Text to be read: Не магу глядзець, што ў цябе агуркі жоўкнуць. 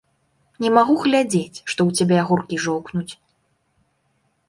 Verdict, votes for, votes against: accepted, 2, 1